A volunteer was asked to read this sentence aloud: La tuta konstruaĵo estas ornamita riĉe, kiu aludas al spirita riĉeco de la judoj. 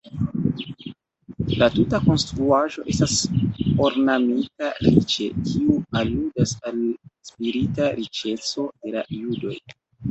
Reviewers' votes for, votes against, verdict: 0, 2, rejected